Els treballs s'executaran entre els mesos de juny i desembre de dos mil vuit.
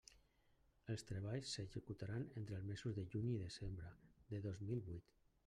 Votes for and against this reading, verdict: 0, 2, rejected